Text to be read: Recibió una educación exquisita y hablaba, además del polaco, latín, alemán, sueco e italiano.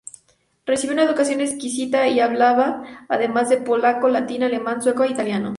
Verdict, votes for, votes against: accepted, 2, 0